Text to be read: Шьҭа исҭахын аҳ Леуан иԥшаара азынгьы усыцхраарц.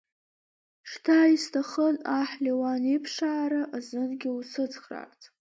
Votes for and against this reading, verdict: 2, 0, accepted